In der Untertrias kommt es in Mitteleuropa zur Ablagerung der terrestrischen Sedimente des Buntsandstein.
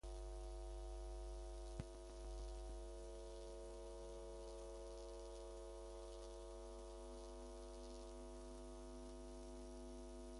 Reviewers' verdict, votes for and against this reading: rejected, 1, 2